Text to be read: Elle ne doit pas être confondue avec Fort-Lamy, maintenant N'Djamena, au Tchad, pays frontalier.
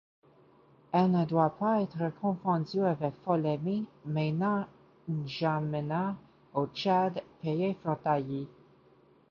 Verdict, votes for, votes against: rejected, 1, 2